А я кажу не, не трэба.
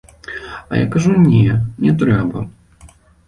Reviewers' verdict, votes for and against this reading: accepted, 2, 0